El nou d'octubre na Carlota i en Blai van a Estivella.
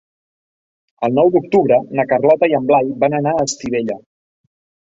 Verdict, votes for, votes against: rejected, 0, 2